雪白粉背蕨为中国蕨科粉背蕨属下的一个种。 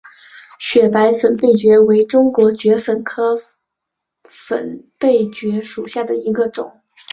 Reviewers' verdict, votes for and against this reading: accepted, 3, 1